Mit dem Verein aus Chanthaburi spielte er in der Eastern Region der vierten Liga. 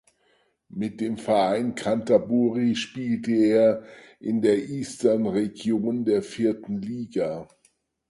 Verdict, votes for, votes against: rejected, 0, 4